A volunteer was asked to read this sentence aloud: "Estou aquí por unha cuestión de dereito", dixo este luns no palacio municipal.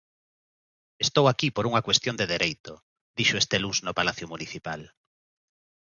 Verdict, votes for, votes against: accepted, 2, 0